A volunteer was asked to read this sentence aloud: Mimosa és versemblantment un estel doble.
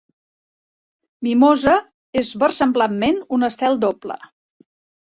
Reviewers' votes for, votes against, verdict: 2, 0, accepted